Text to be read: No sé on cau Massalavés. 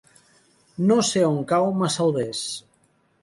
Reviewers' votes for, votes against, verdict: 0, 3, rejected